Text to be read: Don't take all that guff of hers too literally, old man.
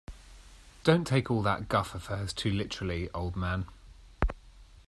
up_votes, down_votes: 2, 0